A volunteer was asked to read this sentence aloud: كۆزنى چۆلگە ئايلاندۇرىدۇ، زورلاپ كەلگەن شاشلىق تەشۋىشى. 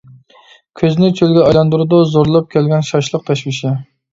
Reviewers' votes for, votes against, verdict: 2, 0, accepted